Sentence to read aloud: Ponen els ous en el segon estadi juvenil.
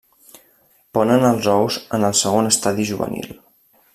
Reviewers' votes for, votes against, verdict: 3, 0, accepted